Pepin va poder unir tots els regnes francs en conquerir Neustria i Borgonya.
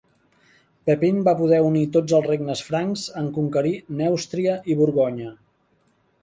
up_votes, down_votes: 2, 0